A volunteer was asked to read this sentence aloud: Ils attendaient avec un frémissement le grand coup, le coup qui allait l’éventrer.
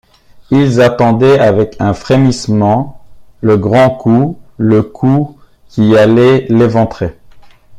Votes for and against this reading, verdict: 2, 0, accepted